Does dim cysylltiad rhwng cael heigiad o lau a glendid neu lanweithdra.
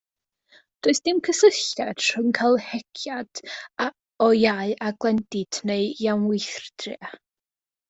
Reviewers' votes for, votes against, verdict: 0, 2, rejected